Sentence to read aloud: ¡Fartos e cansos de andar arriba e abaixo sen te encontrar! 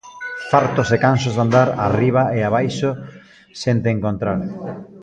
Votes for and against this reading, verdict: 0, 2, rejected